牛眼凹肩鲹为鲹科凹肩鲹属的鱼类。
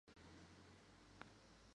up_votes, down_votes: 0, 4